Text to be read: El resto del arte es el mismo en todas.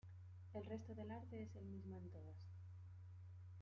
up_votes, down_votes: 0, 2